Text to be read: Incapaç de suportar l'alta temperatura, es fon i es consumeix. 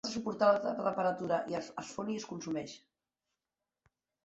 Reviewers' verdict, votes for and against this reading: rejected, 0, 3